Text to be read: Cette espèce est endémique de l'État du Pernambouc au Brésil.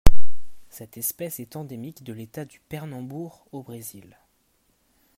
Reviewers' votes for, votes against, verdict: 1, 2, rejected